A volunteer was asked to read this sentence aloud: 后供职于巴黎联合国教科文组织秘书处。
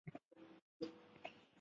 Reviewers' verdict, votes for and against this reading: rejected, 0, 2